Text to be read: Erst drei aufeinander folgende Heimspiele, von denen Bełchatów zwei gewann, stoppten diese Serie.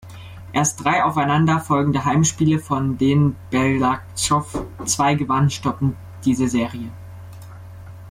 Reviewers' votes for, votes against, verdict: 0, 2, rejected